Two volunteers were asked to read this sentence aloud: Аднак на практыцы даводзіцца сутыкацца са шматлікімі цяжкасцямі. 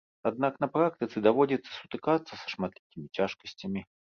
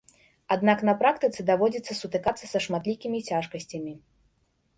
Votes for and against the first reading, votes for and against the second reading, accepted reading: 0, 2, 3, 0, second